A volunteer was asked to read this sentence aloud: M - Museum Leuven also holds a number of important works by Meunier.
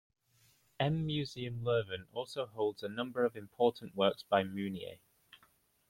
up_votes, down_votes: 2, 0